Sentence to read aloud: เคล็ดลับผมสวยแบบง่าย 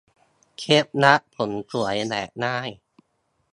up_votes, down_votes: 2, 0